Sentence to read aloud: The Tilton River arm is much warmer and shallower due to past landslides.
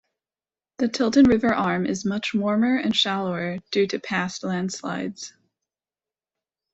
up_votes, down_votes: 0, 2